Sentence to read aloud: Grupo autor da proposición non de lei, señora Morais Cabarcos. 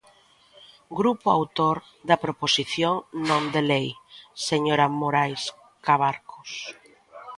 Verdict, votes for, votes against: rejected, 0, 2